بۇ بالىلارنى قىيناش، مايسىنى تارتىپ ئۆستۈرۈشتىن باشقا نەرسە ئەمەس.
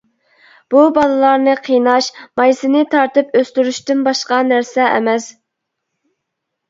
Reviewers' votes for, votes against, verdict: 2, 0, accepted